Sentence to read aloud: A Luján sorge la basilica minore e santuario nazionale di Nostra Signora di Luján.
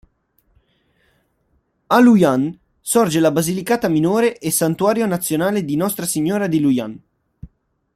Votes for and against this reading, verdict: 1, 2, rejected